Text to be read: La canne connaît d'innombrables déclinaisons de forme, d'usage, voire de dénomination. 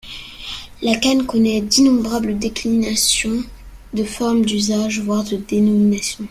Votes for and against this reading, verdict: 1, 2, rejected